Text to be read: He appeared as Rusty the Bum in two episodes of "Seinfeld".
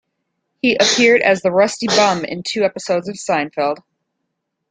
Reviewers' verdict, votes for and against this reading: rejected, 1, 2